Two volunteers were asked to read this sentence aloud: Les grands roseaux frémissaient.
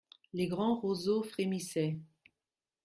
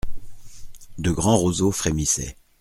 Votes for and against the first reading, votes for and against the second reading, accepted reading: 2, 0, 1, 2, first